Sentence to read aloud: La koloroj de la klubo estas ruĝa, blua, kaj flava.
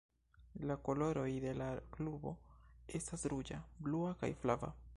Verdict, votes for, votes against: rejected, 2, 3